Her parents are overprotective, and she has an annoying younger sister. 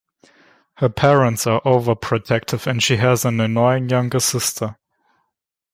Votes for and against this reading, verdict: 2, 0, accepted